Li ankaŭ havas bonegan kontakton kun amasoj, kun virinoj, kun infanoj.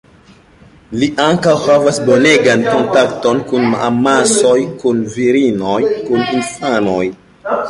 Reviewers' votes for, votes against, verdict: 2, 1, accepted